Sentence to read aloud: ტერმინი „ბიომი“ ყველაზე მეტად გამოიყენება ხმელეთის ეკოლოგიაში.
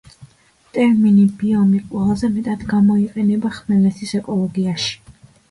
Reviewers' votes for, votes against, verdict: 2, 1, accepted